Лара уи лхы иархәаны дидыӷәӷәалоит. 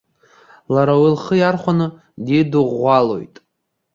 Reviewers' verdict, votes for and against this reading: accepted, 2, 0